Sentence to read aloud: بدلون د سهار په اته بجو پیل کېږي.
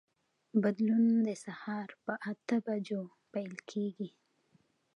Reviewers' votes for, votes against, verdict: 2, 0, accepted